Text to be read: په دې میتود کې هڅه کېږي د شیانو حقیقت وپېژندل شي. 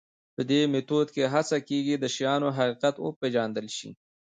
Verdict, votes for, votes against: rejected, 1, 2